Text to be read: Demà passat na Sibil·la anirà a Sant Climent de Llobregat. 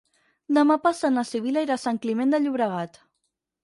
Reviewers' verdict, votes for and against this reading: rejected, 0, 6